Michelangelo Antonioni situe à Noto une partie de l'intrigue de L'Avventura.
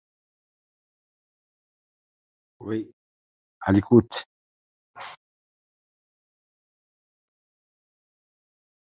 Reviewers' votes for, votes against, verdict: 0, 2, rejected